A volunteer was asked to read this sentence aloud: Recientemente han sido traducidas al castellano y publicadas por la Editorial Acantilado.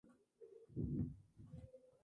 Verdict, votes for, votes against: rejected, 0, 2